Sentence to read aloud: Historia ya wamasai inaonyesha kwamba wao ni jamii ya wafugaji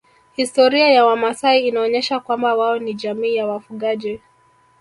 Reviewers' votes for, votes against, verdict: 0, 2, rejected